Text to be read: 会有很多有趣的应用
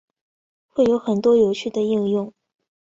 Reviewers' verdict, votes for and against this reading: accepted, 5, 0